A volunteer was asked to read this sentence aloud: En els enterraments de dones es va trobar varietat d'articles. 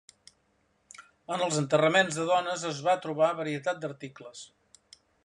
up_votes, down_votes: 3, 0